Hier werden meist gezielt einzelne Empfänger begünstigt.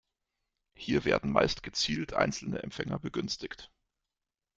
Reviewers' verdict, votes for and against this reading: accepted, 2, 0